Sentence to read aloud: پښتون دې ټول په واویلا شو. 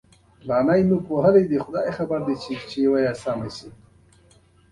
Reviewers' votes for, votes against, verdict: 2, 1, accepted